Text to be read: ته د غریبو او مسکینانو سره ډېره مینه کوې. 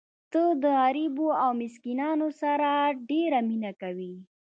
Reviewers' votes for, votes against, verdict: 0, 2, rejected